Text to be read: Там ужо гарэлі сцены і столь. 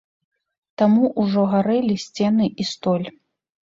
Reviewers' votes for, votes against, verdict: 0, 2, rejected